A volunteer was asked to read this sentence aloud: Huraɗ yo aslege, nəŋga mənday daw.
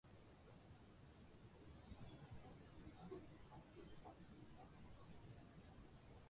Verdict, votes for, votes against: rejected, 0, 2